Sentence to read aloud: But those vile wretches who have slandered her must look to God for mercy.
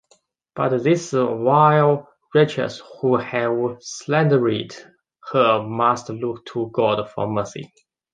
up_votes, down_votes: 1, 2